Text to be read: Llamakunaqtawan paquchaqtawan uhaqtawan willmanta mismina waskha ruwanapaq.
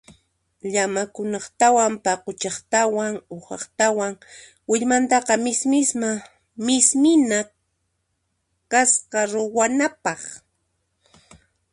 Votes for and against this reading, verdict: 0, 2, rejected